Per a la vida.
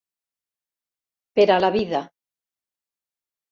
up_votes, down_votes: 4, 0